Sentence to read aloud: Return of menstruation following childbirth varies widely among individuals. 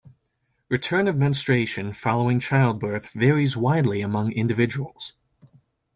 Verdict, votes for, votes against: accepted, 2, 0